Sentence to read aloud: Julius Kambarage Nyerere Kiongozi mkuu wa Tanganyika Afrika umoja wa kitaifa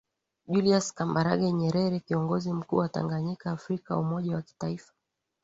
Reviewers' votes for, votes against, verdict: 2, 0, accepted